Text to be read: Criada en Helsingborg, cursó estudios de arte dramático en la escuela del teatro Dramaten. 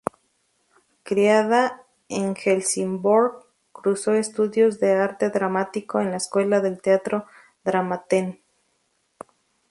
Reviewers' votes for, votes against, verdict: 2, 2, rejected